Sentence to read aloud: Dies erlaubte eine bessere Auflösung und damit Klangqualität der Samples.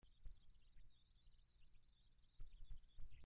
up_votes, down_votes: 0, 2